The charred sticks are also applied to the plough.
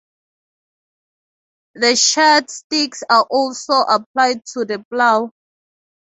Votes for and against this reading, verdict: 6, 0, accepted